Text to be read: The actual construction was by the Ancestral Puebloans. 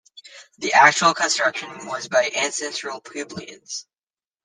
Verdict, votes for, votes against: rejected, 0, 2